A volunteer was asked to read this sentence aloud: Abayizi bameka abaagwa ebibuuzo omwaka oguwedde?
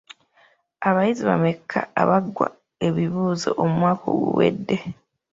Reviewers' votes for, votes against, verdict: 1, 2, rejected